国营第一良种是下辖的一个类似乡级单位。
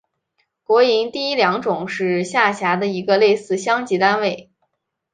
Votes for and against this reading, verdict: 5, 0, accepted